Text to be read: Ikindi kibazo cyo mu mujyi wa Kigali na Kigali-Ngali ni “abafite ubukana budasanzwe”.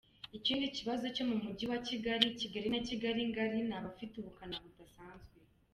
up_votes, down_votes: 1, 2